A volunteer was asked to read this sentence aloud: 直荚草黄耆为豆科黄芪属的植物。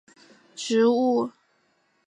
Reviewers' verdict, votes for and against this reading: rejected, 0, 5